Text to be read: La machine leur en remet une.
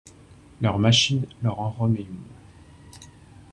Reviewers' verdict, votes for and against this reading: rejected, 1, 2